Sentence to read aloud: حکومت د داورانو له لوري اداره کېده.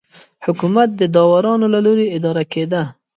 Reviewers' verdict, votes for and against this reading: rejected, 0, 2